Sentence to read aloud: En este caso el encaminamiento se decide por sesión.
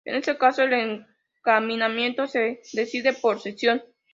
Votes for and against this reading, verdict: 2, 0, accepted